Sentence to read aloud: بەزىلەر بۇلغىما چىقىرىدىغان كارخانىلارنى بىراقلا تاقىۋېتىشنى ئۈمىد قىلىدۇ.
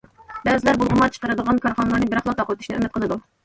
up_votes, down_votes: 2, 1